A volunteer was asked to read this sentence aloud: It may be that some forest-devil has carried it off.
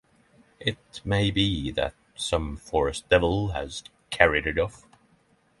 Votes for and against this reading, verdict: 6, 0, accepted